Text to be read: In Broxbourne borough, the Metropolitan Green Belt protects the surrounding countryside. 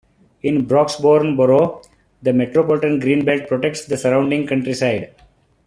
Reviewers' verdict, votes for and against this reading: accepted, 2, 0